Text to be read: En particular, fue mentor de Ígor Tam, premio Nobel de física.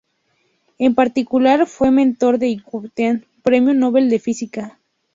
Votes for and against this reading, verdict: 2, 0, accepted